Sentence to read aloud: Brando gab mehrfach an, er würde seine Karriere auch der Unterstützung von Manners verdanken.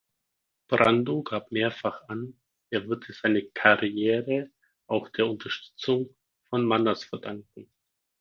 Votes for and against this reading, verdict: 4, 0, accepted